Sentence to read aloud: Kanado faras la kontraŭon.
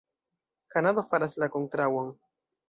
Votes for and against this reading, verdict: 1, 2, rejected